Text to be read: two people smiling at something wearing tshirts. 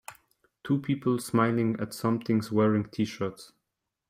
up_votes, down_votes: 2, 3